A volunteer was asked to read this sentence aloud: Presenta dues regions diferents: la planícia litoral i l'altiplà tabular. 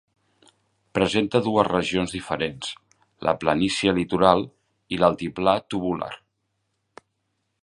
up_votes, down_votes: 0, 2